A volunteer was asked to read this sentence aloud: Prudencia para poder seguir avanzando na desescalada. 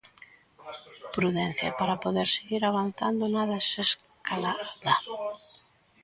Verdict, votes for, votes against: rejected, 1, 2